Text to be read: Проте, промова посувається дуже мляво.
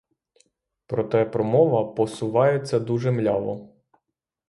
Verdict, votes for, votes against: accepted, 3, 0